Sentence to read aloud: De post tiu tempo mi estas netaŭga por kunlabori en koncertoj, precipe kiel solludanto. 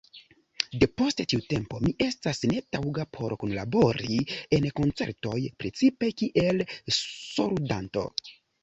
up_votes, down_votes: 3, 1